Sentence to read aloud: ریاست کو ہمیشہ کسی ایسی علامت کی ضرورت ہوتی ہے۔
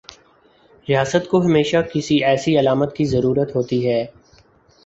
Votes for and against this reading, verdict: 4, 0, accepted